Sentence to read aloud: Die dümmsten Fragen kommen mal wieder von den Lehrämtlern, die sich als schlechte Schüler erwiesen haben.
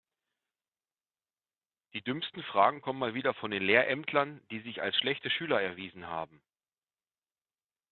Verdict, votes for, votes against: accepted, 2, 0